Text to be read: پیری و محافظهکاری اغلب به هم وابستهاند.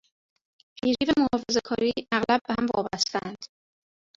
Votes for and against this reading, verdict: 1, 2, rejected